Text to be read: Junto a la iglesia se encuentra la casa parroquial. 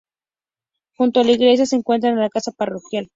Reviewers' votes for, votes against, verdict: 2, 0, accepted